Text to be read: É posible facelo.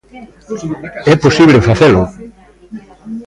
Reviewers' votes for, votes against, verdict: 1, 2, rejected